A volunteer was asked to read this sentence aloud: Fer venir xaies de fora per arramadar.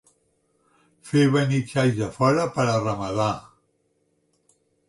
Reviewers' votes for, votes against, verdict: 2, 3, rejected